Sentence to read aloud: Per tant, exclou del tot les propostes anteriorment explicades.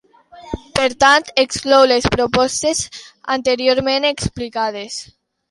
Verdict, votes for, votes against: rejected, 0, 2